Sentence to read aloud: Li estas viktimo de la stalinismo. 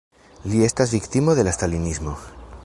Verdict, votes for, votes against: accepted, 2, 0